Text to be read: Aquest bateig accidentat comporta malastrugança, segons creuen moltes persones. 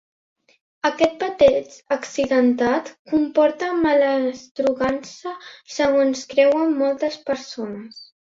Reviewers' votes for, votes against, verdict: 3, 0, accepted